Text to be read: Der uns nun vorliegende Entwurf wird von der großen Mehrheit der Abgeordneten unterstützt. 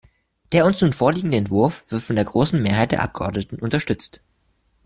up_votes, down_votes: 2, 0